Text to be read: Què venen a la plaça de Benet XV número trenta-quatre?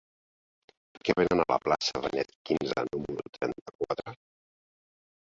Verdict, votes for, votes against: rejected, 1, 2